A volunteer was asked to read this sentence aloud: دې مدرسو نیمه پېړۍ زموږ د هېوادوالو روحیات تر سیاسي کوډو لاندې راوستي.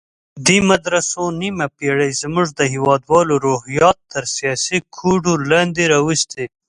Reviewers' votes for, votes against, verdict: 2, 0, accepted